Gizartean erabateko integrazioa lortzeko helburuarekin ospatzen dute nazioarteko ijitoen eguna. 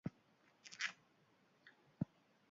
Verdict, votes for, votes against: rejected, 0, 2